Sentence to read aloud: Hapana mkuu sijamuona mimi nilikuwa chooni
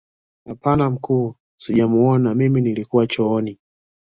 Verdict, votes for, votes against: accepted, 2, 0